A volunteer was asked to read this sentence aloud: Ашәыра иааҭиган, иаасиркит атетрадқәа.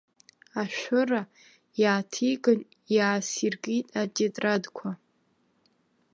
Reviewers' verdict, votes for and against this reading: accepted, 2, 1